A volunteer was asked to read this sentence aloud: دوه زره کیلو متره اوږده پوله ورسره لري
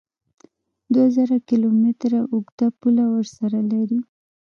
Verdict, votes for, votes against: rejected, 0, 2